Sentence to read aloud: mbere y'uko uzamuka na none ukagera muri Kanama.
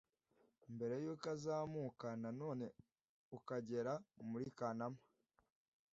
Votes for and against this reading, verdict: 1, 2, rejected